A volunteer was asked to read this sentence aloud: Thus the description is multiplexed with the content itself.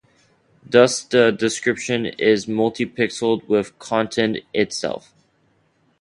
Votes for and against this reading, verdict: 0, 2, rejected